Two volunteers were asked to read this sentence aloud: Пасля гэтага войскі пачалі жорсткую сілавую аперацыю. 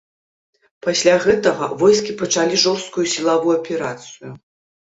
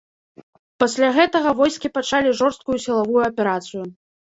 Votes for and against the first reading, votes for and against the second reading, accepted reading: 2, 0, 1, 2, first